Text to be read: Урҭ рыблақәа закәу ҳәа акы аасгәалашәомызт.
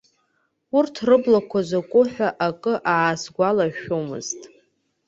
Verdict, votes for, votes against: accepted, 2, 0